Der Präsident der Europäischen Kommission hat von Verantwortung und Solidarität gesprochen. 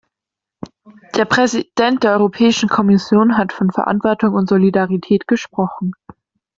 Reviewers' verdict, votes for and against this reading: rejected, 1, 2